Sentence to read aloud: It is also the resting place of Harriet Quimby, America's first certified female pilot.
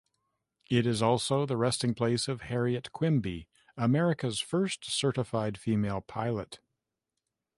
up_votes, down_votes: 2, 0